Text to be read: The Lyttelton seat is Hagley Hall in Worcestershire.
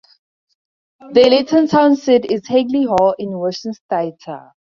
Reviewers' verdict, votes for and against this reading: rejected, 0, 4